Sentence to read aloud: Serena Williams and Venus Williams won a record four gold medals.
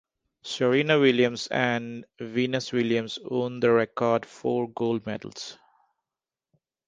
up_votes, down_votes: 0, 2